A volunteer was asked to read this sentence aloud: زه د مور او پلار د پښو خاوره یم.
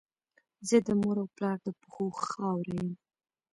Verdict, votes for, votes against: rejected, 1, 2